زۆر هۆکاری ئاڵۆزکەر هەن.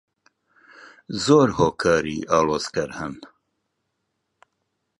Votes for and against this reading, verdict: 2, 0, accepted